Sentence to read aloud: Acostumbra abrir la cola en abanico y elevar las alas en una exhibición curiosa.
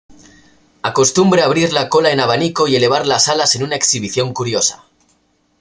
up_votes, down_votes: 2, 0